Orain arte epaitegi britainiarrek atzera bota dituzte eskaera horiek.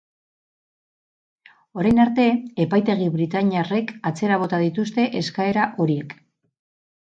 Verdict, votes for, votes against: rejected, 2, 2